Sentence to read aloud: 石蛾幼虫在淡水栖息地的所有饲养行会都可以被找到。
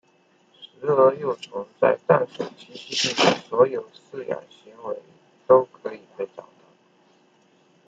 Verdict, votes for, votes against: rejected, 0, 2